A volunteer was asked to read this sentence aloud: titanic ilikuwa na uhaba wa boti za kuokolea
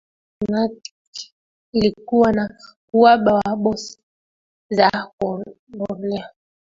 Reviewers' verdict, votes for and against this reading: accepted, 2, 1